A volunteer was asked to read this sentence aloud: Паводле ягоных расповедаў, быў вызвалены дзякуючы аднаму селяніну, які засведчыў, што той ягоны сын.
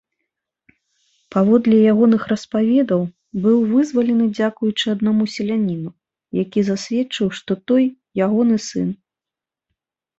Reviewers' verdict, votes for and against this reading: rejected, 0, 2